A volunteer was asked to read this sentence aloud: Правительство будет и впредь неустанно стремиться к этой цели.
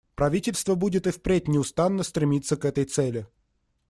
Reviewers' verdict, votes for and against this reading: accepted, 2, 0